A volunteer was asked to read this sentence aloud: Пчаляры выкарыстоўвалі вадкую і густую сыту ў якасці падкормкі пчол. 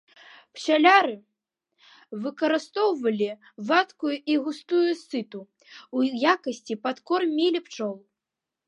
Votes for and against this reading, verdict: 0, 2, rejected